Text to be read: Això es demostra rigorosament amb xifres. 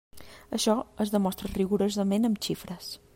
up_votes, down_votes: 3, 0